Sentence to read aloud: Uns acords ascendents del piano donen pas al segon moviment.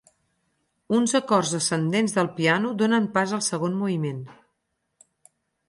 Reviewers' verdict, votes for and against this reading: accepted, 6, 0